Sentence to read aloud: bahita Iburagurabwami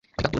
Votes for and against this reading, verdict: 2, 1, accepted